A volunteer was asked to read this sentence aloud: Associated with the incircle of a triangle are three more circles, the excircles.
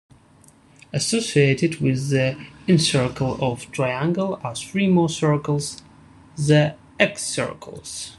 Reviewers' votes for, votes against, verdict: 0, 2, rejected